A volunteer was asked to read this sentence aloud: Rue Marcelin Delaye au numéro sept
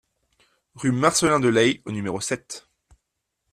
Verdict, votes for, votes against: accepted, 2, 0